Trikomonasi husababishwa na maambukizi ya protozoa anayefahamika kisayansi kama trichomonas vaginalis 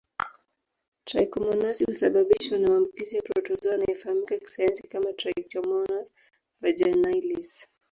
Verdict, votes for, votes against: rejected, 1, 2